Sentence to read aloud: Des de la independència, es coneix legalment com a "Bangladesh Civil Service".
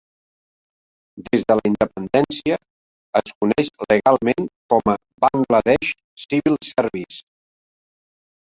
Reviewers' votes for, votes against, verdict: 0, 2, rejected